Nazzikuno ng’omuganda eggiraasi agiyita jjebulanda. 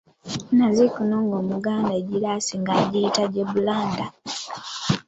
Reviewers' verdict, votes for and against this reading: rejected, 1, 2